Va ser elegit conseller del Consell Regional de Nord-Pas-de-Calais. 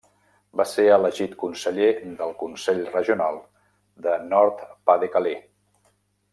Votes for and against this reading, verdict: 0, 2, rejected